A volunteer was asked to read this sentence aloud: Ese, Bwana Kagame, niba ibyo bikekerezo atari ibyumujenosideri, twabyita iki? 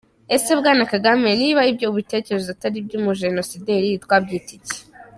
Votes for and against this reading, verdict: 3, 4, rejected